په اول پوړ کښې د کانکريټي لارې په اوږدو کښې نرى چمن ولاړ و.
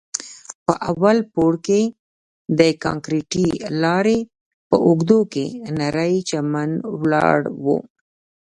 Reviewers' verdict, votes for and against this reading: rejected, 0, 2